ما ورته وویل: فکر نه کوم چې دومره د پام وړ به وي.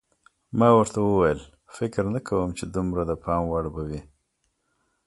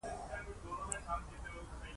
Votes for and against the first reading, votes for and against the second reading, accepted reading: 2, 1, 1, 2, first